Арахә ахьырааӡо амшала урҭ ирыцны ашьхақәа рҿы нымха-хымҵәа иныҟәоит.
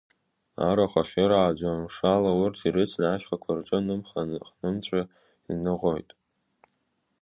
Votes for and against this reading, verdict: 1, 2, rejected